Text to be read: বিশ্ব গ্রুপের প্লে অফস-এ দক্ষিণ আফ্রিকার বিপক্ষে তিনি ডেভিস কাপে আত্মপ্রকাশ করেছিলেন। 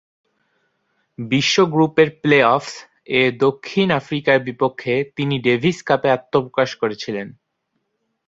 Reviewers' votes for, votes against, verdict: 2, 2, rejected